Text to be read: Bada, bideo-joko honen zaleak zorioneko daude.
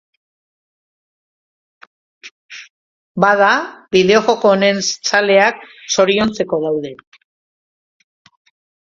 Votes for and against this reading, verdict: 0, 2, rejected